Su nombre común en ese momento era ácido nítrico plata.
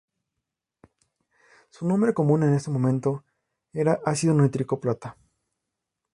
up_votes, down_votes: 2, 0